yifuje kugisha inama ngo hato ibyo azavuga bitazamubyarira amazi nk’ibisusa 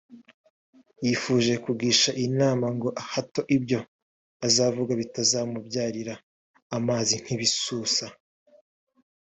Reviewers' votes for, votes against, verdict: 2, 1, accepted